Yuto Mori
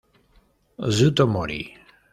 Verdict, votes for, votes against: accepted, 2, 0